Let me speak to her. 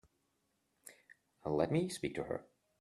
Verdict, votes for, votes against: accepted, 2, 0